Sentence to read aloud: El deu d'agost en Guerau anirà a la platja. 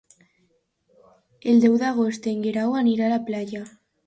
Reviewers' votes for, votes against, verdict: 0, 2, rejected